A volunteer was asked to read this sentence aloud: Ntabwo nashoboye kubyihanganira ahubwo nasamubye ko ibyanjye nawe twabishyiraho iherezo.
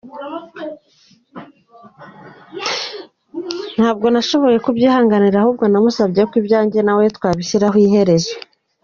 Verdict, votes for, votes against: accepted, 2, 0